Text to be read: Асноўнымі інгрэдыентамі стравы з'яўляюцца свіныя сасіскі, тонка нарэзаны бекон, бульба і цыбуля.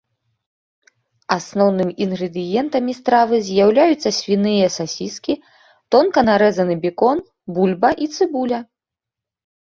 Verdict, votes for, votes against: accepted, 2, 0